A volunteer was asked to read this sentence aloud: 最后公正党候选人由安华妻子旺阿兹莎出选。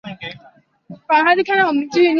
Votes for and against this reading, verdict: 0, 2, rejected